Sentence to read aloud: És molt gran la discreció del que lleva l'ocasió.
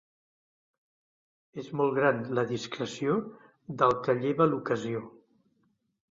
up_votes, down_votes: 2, 0